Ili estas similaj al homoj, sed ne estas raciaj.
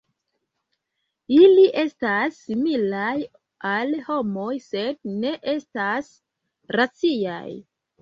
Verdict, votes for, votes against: accepted, 2, 0